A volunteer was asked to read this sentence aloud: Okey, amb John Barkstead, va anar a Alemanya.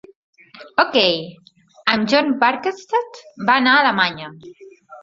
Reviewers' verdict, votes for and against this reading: accepted, 2, 0